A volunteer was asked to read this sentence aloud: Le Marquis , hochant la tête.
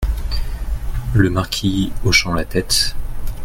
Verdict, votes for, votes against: accepted, 2, 0